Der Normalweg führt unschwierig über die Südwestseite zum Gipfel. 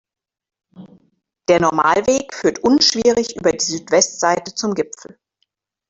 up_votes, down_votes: 2, 0